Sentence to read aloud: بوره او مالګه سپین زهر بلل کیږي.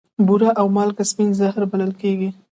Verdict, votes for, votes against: rejected, 1, 2